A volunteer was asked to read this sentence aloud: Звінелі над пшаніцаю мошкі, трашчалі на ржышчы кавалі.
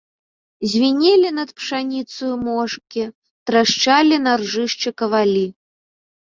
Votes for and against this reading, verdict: 2, 0, accepted